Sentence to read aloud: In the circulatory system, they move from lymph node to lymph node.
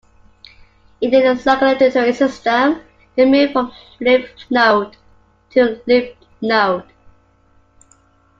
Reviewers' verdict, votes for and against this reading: rejected, 0, 2